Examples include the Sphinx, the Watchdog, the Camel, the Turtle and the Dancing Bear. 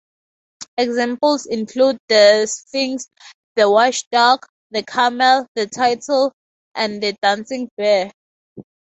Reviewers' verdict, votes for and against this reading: rejected, 0, 2